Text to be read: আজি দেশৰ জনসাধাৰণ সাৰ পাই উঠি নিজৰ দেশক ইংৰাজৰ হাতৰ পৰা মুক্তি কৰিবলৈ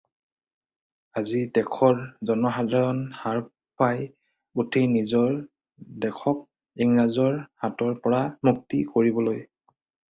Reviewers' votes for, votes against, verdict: 4, 0, accepted